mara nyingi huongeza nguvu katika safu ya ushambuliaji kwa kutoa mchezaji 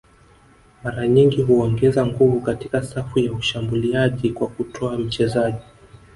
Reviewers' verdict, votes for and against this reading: rejected, 1, 2